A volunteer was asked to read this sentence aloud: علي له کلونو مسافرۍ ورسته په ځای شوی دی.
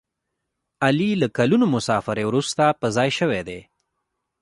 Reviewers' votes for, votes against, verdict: 2, 0, accepted